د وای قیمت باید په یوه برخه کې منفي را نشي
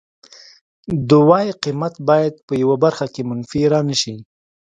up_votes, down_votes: 2, 0